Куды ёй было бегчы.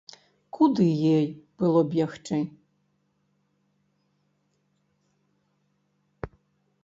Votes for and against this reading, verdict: 0, 2, rejected